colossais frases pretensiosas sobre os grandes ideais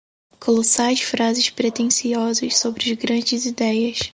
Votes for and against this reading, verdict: 2, 4, rejected